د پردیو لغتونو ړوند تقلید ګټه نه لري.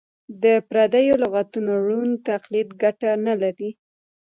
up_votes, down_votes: 2, 0